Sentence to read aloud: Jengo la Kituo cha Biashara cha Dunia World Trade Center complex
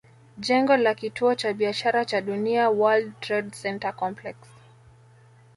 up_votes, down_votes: 2, 0